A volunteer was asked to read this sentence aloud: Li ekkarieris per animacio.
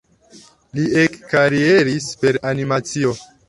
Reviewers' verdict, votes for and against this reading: accepted, 2, 0